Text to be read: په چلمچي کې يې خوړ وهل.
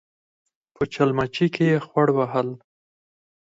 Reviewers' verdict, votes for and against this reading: rejected, 2, 4